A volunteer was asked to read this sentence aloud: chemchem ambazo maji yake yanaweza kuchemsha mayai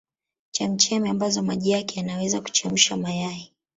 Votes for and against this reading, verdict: 0, 2, rejected